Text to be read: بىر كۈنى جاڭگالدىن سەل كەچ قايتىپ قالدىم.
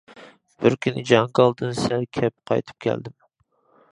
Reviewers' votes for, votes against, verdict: 0, 2, rejected